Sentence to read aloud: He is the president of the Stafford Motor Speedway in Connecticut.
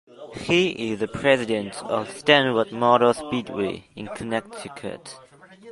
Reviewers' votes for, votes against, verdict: 1, 2, rejected